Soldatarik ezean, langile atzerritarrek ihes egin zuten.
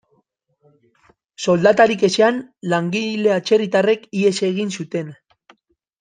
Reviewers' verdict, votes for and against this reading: rejected, 1, 2